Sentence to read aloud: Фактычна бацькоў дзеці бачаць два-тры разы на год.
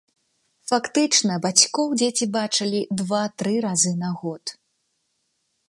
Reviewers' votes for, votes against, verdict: 0, 2, rejected